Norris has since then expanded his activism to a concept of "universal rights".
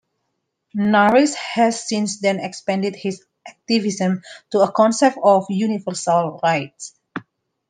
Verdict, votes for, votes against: rejected, 1, 2